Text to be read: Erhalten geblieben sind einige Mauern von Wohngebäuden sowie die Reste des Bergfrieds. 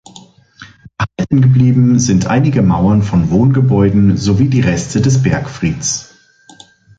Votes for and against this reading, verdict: 1, 2, rejected